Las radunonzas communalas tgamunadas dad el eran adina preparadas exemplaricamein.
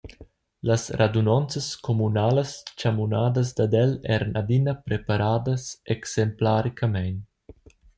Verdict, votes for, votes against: accepted, 2, 0